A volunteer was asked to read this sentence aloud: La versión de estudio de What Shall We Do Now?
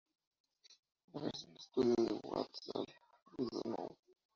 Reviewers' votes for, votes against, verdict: 0, 2, rejected